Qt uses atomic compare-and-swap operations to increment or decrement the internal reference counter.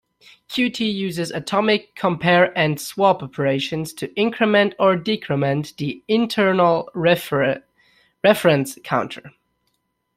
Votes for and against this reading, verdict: 0, 2, rejected